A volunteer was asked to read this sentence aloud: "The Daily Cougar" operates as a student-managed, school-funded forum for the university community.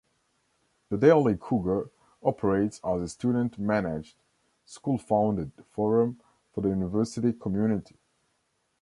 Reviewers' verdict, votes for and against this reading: accepted, 2, 0